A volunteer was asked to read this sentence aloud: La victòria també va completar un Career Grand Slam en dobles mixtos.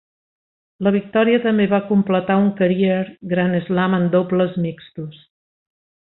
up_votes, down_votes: 2, 0